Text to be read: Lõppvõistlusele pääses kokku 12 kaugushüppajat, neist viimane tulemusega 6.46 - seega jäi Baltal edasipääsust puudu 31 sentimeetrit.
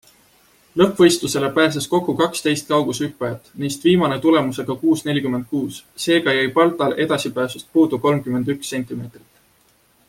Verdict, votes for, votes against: rejected, 0, 2